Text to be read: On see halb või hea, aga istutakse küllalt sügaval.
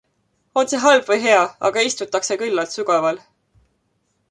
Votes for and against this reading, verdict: 2, 0, accepted